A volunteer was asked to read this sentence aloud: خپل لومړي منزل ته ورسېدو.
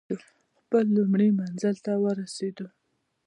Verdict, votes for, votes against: accepted, 2, 0